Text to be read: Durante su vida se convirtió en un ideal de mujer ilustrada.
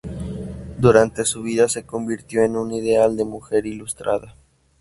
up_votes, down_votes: 2, 0